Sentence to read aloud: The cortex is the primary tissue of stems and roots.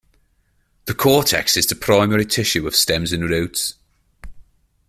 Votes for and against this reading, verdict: 2, 0, accepted